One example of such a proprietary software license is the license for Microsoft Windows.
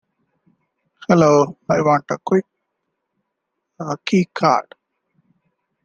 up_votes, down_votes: 0, 2